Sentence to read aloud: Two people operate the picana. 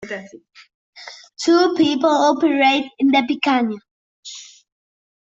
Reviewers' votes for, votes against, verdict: 1, 2, rejected